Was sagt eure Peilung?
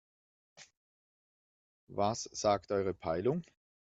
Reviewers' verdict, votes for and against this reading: accepted, 2, 0